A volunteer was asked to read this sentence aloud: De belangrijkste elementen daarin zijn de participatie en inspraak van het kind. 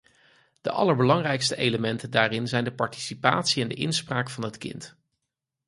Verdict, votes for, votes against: rejected, 0, 4